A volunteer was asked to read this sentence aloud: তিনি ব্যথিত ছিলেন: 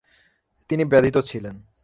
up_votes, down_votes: 3, 0